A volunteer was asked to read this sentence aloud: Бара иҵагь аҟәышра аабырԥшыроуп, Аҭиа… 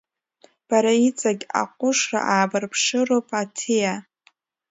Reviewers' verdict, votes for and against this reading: rejected, 1, 2